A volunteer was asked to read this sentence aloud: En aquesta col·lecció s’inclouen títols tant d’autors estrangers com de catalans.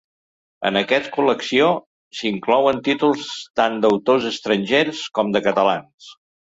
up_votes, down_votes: 1, 2